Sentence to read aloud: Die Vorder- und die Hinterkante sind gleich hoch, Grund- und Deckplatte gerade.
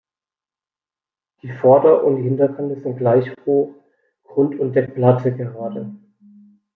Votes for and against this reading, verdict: 2, 1, accepted